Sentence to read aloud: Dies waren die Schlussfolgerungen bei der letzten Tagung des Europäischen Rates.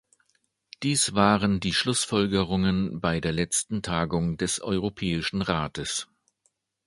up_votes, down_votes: 2, 0